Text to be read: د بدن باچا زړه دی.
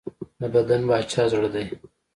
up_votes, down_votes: 2, 0